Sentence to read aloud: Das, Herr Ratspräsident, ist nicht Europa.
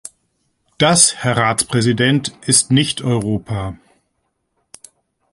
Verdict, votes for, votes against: rejected, 1, 2